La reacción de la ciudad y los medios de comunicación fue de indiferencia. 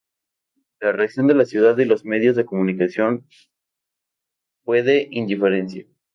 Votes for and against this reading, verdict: 2, 0, accepted